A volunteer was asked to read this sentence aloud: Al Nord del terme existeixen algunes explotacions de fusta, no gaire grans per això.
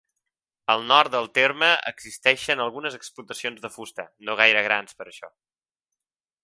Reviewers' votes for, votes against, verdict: 3, 0, accepted